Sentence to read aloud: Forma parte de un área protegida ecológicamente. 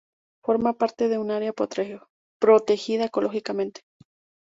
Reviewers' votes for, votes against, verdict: 0, 2, rejected